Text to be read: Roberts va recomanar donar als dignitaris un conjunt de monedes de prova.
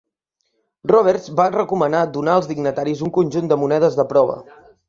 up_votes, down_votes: 2, 1